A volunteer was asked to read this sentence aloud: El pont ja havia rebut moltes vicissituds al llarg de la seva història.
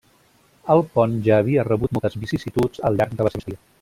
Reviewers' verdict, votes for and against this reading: rejected, 0, 2